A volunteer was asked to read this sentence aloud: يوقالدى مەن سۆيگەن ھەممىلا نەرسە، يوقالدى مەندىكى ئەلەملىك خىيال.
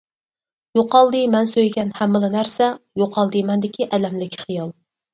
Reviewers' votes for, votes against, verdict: 4, 0, accepted